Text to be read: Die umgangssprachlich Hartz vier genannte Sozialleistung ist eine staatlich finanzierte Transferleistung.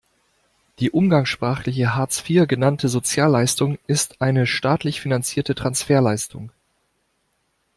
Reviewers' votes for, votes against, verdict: 0, 2, rejected